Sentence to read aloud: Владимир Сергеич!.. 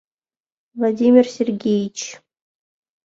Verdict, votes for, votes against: accepted, 2, 0